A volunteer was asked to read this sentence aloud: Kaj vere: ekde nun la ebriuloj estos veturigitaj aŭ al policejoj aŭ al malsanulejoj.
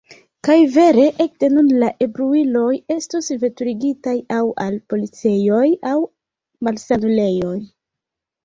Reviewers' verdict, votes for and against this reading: rejected, 0, 2